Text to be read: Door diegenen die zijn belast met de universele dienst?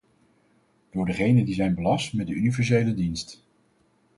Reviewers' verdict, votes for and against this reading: rejected, 2, 2